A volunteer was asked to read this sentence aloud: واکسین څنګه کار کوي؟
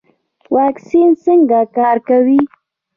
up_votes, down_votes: 1, 2